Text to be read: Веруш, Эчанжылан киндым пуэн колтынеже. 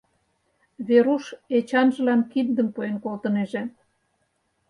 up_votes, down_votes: 4, 0